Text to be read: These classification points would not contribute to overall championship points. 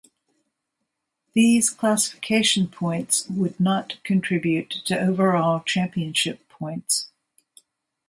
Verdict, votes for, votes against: rejected, 1, 2